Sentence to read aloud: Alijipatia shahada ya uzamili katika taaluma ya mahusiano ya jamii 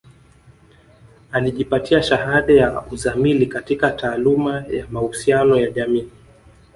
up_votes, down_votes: 1, 2